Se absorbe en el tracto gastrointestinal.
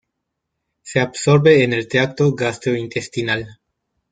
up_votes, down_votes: 1, 2